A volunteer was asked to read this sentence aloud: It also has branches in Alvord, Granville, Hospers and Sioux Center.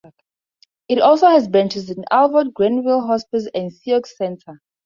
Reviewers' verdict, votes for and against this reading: rejected, 2, 4